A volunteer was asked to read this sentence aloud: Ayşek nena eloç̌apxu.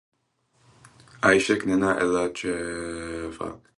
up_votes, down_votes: 0, 4